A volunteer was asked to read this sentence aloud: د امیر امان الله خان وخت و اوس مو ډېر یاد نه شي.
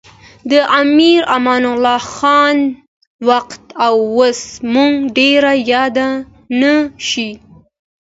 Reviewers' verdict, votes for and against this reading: accepted, 2, 1